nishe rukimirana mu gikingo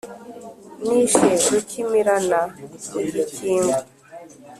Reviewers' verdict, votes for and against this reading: accepted, 4, 0